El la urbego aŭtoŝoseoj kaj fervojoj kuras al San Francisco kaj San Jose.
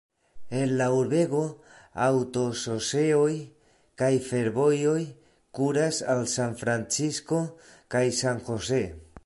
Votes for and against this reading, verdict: 2, 0, accepted